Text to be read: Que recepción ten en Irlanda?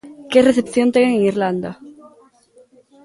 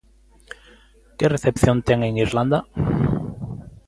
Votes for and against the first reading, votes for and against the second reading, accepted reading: 0, 2, 2, 0, second